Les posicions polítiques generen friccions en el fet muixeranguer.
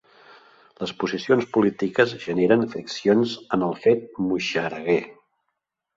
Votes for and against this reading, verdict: 1, 2, rejected